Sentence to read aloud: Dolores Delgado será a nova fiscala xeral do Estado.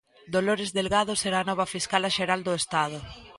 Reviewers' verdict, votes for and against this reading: rejected, 1, 2